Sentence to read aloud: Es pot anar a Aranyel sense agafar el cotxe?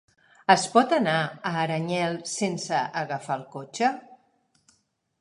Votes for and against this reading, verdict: 5, 0, accepted